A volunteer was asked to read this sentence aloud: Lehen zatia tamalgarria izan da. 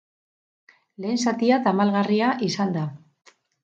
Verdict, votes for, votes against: accepted, 2, 0